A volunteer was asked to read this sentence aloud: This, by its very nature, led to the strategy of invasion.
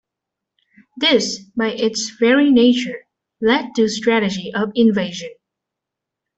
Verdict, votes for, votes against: rejected, 0, 2